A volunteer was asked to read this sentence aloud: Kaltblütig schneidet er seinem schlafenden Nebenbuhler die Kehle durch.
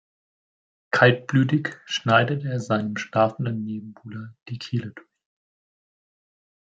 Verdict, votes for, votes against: rejected, 1, 2